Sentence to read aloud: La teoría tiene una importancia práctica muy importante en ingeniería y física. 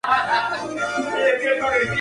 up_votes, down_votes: 0, 2